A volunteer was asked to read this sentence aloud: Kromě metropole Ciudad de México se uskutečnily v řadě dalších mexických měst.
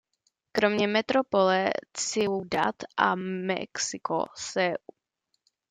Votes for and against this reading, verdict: 0, 2, rejected